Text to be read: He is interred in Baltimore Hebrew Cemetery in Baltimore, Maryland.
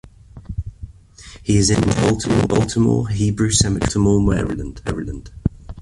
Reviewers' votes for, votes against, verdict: 0, 2, rejected